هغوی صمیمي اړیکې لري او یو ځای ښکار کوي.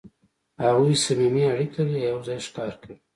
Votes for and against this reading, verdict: 2, 0, accepted